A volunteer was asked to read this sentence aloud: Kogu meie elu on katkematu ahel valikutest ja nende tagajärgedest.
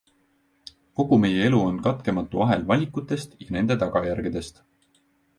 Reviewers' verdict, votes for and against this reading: rejected, 1, 2